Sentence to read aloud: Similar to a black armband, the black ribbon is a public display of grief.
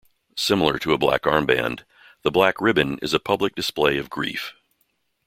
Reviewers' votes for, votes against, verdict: 2, 0, accepted